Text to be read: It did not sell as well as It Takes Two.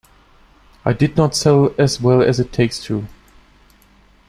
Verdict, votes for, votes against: accepted, 2, 1